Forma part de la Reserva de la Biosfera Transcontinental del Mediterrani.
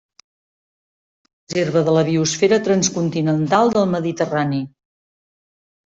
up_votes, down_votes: 0, 2